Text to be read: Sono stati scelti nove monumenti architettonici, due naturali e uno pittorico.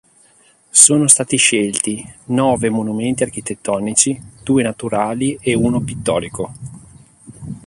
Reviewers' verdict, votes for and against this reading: rejected, 1, 2